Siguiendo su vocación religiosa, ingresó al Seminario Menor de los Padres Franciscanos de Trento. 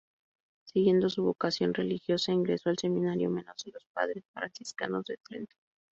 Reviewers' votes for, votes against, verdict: 0, 2, rejected